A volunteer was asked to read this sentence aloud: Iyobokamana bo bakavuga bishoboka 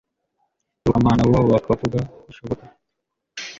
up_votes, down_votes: 1, 2